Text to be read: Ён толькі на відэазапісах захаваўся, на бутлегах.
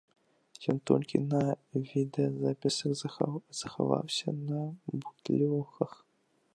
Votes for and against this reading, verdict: 1, 2, rejected